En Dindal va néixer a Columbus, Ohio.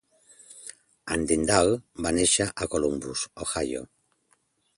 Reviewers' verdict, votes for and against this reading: accepted, 2, 0